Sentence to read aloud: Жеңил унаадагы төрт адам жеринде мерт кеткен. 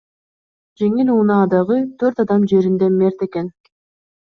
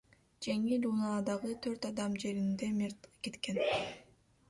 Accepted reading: second